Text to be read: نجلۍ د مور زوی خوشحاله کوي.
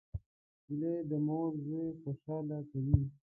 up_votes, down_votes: 2, 0